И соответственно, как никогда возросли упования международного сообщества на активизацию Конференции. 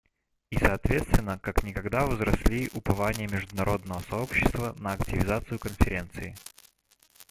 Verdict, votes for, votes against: accepted, 2, 1